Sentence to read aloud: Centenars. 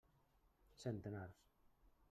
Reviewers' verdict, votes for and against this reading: accepted, 3, 0